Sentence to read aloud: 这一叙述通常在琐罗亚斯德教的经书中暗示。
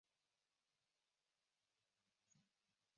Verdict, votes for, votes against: rejected, 0, 3